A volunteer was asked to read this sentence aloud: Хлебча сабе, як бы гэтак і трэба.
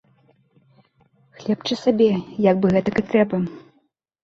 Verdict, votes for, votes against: accepted, 2, 0